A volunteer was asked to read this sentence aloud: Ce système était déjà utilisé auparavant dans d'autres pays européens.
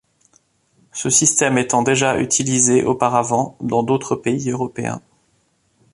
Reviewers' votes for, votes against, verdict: 1, 2, rejected